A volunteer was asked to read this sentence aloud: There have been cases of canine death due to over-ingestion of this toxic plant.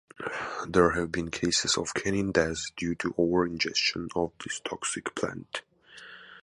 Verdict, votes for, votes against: accepted, 2, 0